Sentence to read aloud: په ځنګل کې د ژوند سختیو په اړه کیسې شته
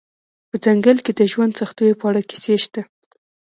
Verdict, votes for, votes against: rejected, 0, 2